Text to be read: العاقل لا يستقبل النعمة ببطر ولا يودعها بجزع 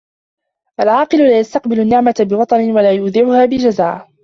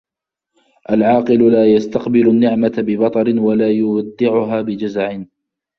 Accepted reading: second